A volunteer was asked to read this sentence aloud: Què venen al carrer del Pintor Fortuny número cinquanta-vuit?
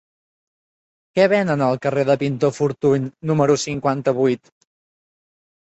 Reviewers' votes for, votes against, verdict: 0, 2, rejected